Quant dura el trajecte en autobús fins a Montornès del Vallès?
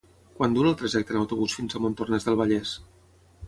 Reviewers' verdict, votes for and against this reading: accepted, 6, 0